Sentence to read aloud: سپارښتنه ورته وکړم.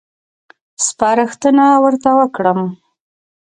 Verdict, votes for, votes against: rejected, 1, 2